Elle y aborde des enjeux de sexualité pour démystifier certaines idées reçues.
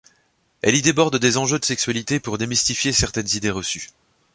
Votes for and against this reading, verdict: 1, 3, rejected